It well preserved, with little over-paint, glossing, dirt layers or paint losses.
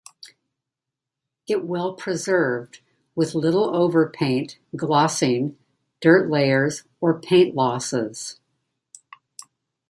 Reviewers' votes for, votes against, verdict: 2, 1, accepted